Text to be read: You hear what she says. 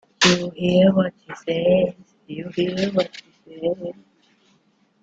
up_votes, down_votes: 0, 2